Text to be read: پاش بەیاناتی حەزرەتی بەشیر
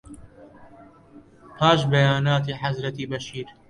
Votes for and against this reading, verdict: 2, 0, accepted